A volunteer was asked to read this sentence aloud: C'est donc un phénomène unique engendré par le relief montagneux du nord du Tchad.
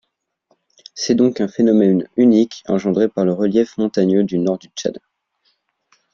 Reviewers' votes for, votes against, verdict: 2, 0, accepted